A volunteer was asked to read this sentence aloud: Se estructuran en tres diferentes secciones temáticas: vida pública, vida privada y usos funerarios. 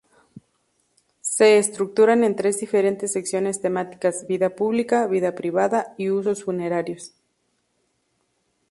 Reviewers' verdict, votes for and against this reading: accepted, 2, 0